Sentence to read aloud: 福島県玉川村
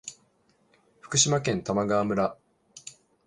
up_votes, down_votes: 1, 2